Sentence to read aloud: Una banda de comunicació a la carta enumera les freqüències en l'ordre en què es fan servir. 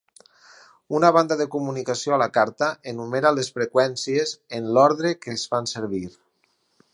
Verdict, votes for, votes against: rejected, 2, 4